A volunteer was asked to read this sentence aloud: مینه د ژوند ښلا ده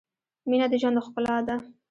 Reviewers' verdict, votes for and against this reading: accepted, 2, 0